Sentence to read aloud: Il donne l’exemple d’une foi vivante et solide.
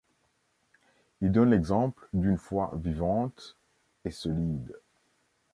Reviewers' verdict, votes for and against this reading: accepted, 2, 0